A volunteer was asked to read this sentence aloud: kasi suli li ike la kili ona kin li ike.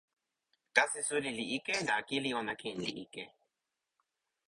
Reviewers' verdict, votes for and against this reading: rejected, 1, 2